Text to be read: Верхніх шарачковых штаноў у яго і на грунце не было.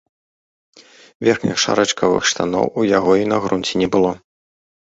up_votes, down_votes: 1, 2